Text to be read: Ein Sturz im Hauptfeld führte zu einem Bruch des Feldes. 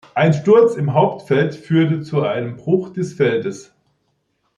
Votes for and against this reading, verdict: 2, 1, accepted